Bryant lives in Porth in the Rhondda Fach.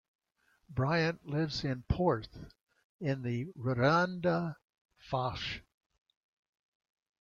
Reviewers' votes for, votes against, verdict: 1, 2, rejected